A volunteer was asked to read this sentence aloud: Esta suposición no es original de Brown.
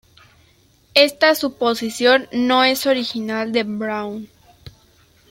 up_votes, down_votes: 2, 0